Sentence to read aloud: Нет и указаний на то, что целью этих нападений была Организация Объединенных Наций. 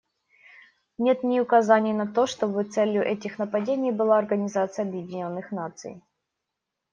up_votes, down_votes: 0, 2